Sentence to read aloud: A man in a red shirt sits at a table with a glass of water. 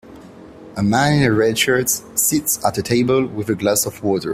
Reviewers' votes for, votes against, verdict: 2, 0, accepted